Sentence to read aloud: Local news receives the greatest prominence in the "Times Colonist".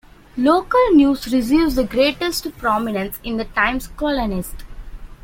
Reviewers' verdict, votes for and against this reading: accepted, 2, 0